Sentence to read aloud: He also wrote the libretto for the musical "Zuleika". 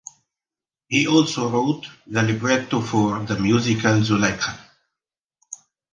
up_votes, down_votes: 2, 0